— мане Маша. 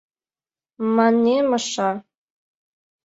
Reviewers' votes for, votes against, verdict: 2, 1, accepted